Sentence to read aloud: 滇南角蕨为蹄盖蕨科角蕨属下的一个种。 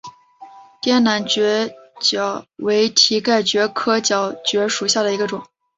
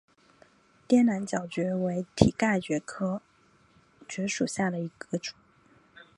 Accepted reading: second